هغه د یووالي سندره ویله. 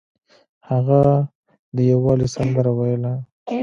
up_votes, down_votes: 2, 0